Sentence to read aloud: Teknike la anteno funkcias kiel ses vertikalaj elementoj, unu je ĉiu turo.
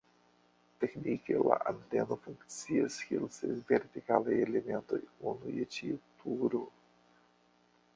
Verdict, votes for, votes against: rejected, 0, 2